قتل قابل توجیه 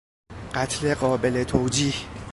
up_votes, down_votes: 2, 1